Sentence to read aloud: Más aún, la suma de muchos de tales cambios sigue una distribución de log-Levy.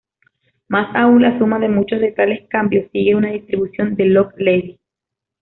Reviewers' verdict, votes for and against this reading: accepted, 2, 0